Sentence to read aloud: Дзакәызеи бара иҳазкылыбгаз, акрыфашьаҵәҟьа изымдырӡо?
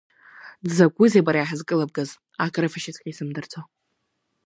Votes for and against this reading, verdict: 2, 0, accepted